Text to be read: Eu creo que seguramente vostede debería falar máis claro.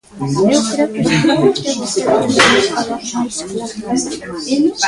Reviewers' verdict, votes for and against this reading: rejected, 0, 3